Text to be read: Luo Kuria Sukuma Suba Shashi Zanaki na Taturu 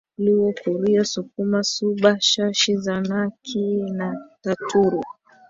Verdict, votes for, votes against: rejected, 0, 2